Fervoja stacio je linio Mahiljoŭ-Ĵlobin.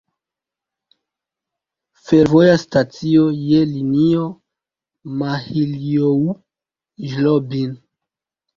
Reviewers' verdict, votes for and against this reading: rejected, 2, 3